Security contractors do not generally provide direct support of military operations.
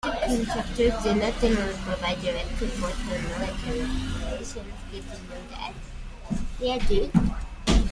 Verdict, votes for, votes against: rejected, 0, 2